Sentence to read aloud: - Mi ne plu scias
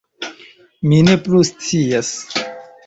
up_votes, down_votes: 2, 0